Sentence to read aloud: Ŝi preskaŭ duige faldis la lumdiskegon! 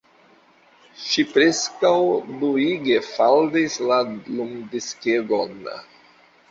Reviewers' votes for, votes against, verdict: 2, 0, accepted